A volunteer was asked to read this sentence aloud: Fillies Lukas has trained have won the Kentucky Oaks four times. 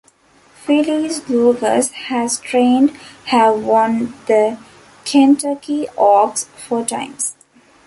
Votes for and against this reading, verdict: 2, 1, accepted